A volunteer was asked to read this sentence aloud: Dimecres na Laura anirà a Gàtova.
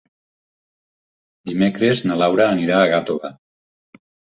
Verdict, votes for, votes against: accepted, 4, 0